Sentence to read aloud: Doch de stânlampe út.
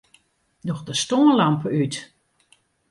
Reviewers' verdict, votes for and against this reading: accepted, 2, 0